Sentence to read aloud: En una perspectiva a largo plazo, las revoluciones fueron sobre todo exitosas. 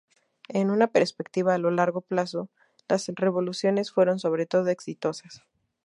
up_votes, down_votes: 0, 2